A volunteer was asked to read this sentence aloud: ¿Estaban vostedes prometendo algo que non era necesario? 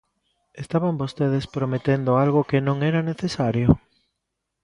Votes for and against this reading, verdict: 2, 0, accepted